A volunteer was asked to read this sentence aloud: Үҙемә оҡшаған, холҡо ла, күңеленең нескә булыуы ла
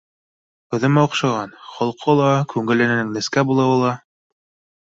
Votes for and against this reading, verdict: 2, 0, accepted